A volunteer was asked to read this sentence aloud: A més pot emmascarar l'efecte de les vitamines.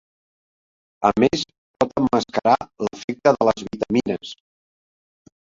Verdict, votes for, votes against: accepted, 2, 0